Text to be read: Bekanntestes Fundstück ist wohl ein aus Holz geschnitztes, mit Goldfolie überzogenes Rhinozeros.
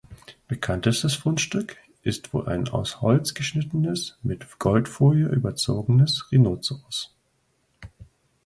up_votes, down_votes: 0, 2